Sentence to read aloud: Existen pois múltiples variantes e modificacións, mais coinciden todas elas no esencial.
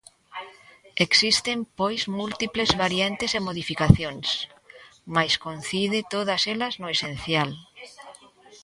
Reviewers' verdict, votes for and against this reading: rejected, 1, 2